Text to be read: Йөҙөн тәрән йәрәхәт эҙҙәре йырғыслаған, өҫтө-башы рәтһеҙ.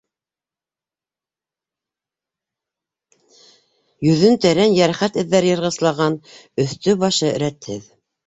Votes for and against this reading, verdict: 1, 2, rejected